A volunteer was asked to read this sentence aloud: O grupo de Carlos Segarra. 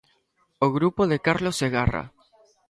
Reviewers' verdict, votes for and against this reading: accepted, 2, 0